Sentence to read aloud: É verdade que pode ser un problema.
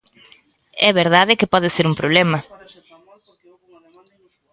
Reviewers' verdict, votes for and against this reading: rejected, 1, 2